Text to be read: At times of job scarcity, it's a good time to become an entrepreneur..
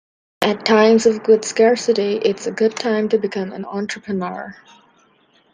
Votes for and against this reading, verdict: 0, 2, rejected